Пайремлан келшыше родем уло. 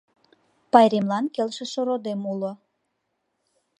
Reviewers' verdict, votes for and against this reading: accepted, 3, 0